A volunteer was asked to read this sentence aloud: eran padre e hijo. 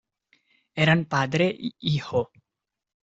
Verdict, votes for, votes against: rejected, 1, 2